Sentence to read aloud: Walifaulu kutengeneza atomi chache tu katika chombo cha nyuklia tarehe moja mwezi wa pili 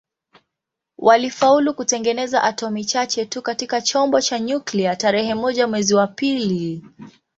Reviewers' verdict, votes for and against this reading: accepted, 2, 0